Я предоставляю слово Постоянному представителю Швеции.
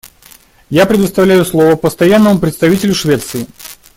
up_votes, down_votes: 2, 1